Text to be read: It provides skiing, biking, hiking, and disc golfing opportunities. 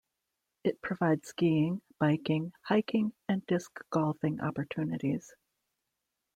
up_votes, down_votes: 2, 0